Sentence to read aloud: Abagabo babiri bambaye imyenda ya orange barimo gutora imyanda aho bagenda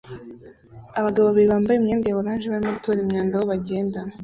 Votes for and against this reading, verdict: 1, 2, rejected